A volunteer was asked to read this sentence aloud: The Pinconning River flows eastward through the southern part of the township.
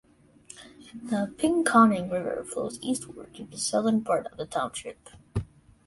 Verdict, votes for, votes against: accepted, 3, 1